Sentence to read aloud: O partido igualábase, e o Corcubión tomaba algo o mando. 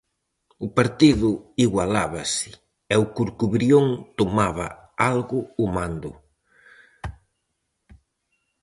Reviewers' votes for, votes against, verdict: 0, 4, rejected